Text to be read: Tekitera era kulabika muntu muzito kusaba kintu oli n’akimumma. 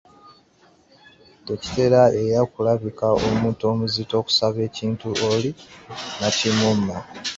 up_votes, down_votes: 0, 2